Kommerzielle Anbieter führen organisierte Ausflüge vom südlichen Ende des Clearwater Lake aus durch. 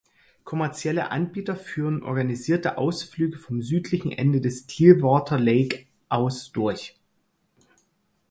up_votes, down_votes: 4, 0